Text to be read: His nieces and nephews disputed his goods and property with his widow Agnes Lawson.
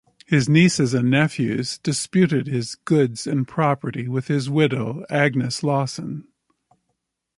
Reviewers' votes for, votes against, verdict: 2, 0, accepted